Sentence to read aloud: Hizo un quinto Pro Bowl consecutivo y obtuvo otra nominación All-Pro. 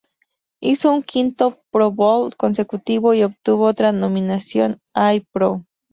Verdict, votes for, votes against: rejected, 0, 2